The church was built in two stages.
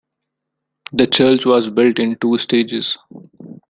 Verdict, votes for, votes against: accepted, 2, 0